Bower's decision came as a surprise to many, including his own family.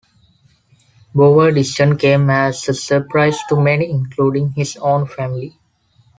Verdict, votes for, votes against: accepted, 2, 1